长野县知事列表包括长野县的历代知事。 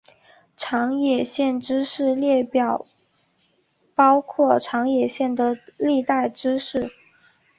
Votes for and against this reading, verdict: 3, 0, accepted